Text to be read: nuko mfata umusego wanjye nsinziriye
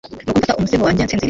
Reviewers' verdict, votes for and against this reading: rejected, 1, 2